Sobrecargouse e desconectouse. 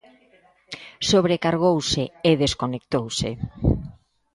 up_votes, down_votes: 2, 0